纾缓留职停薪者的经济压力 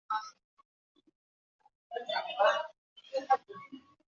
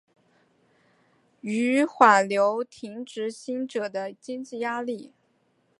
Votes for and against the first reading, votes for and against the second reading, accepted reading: 0, 3, 2, 1, second